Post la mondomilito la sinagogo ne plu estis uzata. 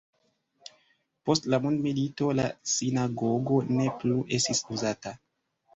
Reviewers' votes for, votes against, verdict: 0, 2, rejected